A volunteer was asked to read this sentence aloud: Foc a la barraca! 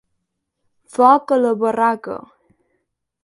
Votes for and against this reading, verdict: 2, 0, accepted